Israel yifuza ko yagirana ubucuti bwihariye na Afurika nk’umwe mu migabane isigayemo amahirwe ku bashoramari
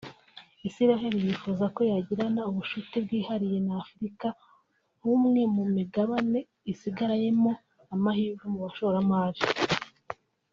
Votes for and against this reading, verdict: 2, 3, rejected